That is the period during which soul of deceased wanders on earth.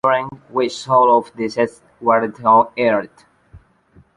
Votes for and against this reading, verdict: 0, 2, rejected